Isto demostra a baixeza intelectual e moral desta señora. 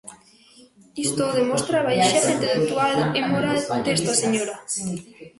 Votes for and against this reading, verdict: 0, 2, rejected